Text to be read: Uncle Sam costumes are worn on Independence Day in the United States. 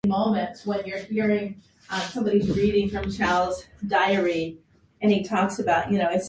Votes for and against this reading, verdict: 0, 2, rejected